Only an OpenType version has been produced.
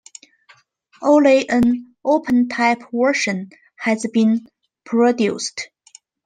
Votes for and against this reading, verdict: 1, 2, rejected